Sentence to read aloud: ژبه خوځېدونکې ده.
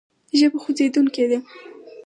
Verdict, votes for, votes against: accepted, 4, 0